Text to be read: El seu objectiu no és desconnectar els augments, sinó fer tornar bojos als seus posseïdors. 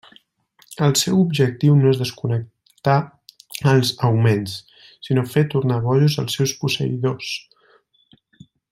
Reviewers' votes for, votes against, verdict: 1, 2, rejected